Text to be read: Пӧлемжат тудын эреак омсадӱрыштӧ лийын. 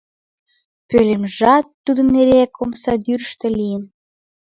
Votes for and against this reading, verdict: 2, 0, accepted